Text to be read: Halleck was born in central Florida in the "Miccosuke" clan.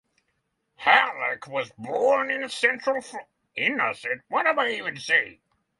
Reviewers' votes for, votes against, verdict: 3, 6, rejected